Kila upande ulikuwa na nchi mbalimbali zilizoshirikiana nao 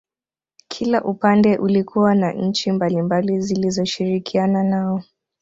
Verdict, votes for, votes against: accepted, 2, 0